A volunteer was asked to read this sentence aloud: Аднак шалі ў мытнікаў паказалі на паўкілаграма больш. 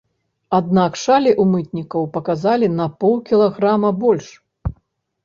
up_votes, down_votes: 0, 2